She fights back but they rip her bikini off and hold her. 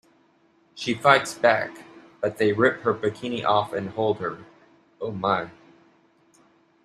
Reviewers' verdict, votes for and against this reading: rejected, 1, 2